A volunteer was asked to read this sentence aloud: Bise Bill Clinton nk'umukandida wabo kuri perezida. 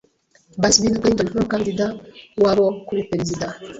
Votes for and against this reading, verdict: 1, 2, rejected